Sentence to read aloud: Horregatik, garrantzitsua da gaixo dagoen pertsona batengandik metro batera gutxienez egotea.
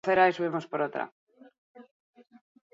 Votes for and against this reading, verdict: 0, 2, rejected